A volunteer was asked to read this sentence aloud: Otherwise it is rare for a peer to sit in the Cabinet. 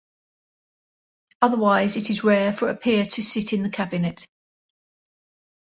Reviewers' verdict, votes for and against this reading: accepted, 2, 0